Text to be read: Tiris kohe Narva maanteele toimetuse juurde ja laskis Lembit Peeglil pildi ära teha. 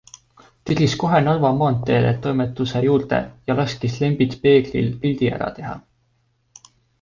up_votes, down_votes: 2, 0